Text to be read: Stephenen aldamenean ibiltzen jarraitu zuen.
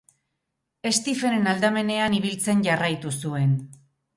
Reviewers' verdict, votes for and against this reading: accepted, 4, 0